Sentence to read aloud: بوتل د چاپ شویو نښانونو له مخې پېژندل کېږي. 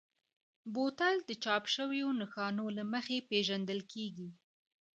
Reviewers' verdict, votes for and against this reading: rejected, 1, 2